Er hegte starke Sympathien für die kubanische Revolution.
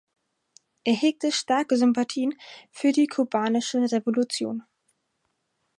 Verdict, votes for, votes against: accepted, 4, 0